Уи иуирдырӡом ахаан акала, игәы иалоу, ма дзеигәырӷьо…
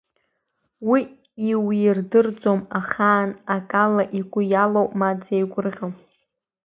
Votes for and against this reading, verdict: 2, 0, accepted